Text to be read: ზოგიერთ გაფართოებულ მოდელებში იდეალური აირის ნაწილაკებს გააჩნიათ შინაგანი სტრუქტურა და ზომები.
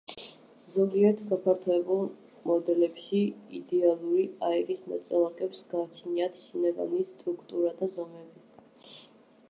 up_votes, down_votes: 0, 2